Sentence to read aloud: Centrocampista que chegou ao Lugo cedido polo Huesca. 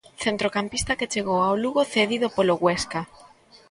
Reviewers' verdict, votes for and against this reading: accepted, 2, 0